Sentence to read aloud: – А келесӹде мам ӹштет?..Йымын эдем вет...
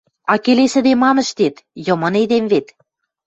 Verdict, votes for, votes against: accepted, 2, 0